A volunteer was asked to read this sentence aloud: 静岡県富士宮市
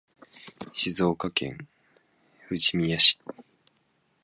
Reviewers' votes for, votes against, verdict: 0, 2, rejected